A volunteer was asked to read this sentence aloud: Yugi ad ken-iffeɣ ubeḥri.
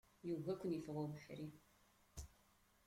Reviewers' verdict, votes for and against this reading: rejected, 0, 2